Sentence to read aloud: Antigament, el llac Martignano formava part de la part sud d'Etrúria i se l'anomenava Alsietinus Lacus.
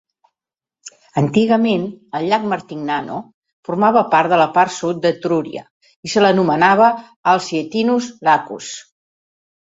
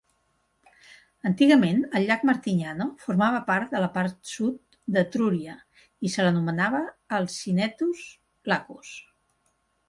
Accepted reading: first